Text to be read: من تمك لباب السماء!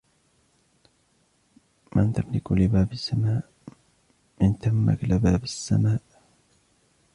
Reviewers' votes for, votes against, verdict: 2, 1, accepted